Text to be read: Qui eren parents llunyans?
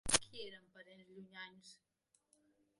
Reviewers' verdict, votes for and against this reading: rejected, 0, 2